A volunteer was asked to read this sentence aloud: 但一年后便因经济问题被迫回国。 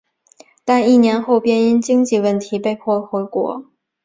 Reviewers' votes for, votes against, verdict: 2, 0, accepted